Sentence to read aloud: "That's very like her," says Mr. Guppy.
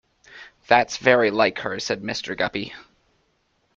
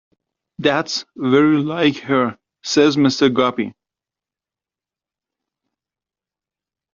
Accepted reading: second